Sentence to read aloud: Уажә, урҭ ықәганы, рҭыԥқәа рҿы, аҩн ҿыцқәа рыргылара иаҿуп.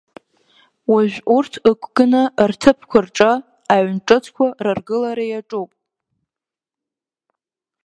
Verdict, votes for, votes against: accepted, 5, 1